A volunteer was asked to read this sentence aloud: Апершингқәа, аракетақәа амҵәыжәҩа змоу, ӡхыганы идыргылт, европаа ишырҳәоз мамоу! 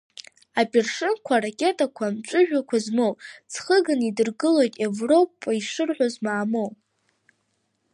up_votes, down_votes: 0, 2